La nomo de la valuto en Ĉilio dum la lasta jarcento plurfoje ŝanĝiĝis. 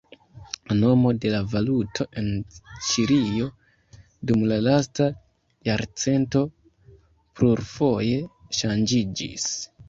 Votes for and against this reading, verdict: 1, 3, rejected